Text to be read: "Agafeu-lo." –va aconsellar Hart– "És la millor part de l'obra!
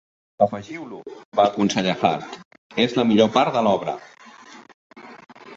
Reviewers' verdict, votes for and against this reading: rejected, 0, 2